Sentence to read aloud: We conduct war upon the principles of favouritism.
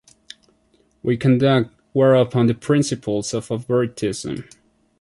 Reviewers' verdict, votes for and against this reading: accepted, 2, 1